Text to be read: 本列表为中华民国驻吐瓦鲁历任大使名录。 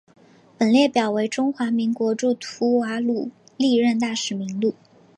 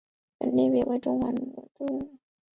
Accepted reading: first